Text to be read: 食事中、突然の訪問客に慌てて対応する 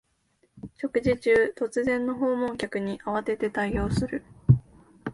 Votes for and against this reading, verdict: 2, 0, accepted